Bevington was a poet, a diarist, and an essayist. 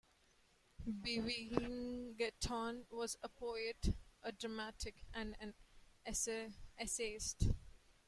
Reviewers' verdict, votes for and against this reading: rejected, 0, 2